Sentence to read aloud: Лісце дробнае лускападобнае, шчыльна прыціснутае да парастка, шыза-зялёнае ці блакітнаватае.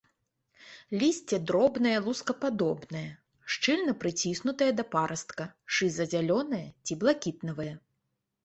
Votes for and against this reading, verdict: 1, 2, rejected